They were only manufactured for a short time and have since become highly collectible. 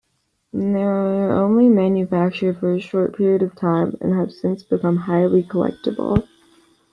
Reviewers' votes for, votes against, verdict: 0, 2, rejected